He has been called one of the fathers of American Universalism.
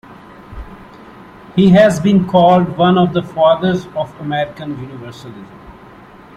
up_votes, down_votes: 2, 1